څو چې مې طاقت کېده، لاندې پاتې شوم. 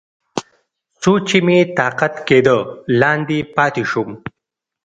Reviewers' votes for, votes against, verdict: 2, 0, accepted